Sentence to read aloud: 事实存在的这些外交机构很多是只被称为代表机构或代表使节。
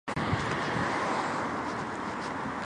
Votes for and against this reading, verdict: 0, 2, rejected